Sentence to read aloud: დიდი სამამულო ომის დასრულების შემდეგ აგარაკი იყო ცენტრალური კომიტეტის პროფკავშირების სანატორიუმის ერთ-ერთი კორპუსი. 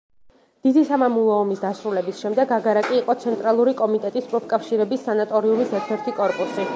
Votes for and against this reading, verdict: 1, 2, rejected